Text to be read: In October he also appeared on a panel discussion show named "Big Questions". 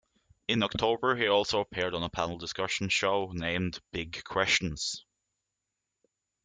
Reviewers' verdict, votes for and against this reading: accepted, 2, 0